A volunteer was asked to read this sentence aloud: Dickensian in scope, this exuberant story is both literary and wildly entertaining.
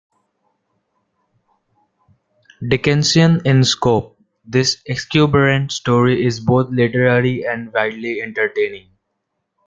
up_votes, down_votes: 1, 2